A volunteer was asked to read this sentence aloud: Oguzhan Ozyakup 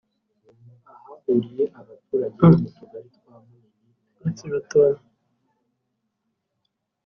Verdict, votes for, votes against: rejected, 0, 2